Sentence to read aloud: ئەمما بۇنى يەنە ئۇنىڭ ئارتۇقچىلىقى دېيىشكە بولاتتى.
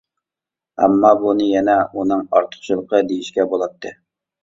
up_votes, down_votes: 2, 0